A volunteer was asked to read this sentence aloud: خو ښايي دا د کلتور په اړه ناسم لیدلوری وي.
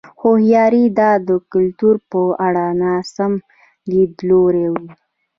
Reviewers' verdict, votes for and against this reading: accepted, 2, 0